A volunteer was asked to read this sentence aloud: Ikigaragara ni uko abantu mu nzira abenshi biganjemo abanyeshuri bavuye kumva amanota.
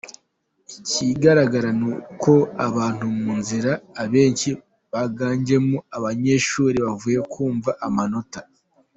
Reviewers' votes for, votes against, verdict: 2, 1, accepted